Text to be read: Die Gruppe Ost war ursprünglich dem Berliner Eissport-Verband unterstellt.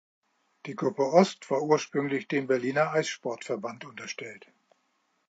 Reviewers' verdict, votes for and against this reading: accepted, 2, 0